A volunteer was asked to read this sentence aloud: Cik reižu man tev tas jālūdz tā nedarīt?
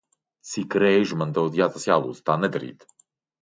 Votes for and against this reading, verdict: 0, 2, rejected